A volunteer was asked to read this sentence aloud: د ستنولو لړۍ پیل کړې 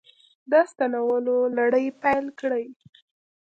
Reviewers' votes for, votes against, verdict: 2, 0, accepted